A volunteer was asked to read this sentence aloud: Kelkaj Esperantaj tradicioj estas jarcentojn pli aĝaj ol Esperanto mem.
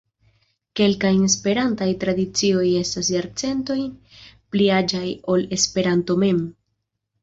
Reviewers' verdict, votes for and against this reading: accepted, 2, 0